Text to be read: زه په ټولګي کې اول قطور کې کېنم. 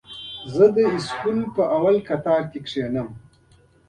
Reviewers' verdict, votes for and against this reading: rejected, 0, 2